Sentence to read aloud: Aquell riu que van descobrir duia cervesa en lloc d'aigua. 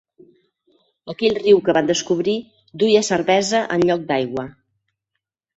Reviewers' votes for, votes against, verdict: 4, 0, accepted